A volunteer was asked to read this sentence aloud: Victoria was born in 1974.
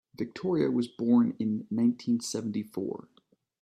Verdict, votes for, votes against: rejected, 0, 2